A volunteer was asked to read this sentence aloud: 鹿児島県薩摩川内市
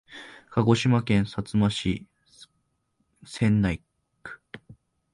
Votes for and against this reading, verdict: 0, 2, rejected